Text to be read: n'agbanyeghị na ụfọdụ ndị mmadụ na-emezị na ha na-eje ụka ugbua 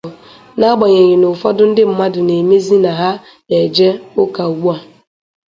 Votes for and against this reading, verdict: 2, 0, accepted